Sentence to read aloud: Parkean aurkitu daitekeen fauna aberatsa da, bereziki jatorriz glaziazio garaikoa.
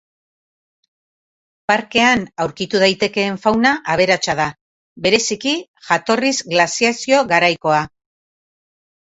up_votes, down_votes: 2, 0